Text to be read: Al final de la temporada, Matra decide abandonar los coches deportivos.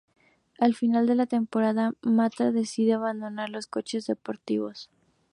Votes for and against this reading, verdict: 2, 0, accepted